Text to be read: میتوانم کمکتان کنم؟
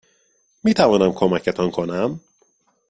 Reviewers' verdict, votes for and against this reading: accepted, 2, 0